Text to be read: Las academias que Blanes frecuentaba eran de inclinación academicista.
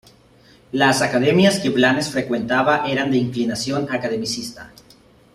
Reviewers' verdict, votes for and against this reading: rejected, 1, 2